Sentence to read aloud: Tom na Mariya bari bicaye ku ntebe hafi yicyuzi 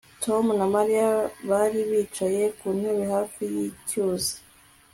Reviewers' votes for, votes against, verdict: 2, 0, accepted